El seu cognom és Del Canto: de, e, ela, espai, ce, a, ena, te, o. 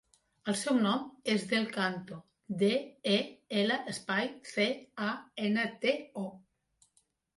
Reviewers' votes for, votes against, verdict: 0, 2, rejected